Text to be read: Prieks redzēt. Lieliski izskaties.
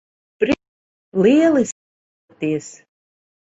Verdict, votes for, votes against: rejected, 0, 2